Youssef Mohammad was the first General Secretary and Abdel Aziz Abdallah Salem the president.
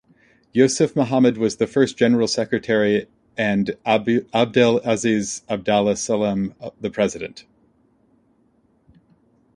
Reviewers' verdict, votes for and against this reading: accepted, 2, 1